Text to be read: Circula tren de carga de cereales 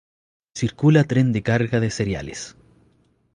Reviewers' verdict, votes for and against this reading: accepted, 2, 0